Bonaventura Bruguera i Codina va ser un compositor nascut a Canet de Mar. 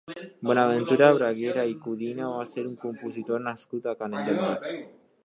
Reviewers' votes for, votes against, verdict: 0, 2, rejected